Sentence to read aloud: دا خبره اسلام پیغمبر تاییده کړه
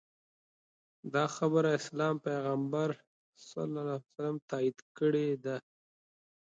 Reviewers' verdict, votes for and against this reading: rejected, 0, 2